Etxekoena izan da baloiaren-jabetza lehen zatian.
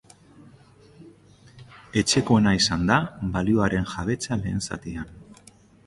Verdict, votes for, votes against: rejected, 0, 2